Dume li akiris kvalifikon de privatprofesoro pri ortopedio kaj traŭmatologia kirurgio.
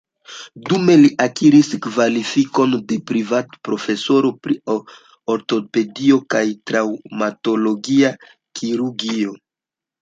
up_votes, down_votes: 2, 1